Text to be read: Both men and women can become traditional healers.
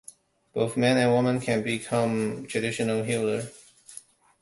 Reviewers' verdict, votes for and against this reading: rejected, 0, 2